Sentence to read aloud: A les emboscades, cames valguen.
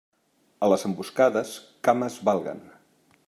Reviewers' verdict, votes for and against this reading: accepted, 3, 0